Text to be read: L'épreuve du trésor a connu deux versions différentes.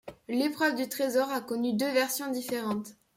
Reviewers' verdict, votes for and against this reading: accepted, 2, 0